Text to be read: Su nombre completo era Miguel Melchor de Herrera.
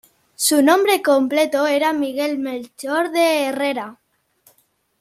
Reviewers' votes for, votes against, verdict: 2, 0, accepted